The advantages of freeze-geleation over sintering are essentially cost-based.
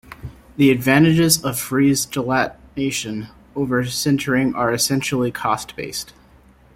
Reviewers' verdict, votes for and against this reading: rejected, 1, 2